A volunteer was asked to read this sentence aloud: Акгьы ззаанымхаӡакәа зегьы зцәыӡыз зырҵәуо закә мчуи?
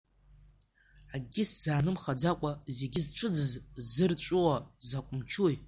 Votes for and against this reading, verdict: 2, 0, accepted